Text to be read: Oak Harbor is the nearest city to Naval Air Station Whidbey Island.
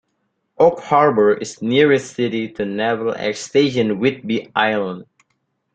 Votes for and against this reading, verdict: 1, 2, rejected